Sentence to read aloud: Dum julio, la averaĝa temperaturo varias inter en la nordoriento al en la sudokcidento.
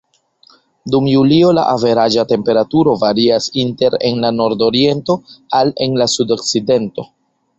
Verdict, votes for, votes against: accepted, 2, 0